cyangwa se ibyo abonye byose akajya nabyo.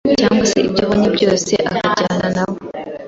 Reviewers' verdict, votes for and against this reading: rejected, 1, 2